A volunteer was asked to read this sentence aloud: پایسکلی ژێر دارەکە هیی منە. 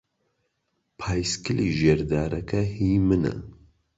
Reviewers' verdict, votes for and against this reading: accepted, 3, 0